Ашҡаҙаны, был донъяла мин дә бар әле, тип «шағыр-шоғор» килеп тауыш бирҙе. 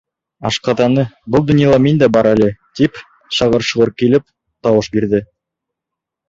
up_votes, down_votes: 2, 0